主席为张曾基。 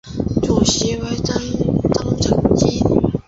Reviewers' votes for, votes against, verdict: 0, 2, rejected